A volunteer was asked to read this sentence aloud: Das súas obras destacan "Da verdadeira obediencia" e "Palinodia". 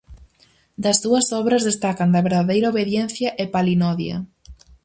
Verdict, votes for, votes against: rejected, 2, 2